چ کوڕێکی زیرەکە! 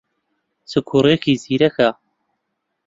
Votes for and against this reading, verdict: 3, 0, accepted